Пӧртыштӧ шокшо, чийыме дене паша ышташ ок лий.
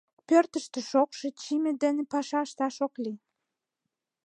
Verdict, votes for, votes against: accepted, 2, 0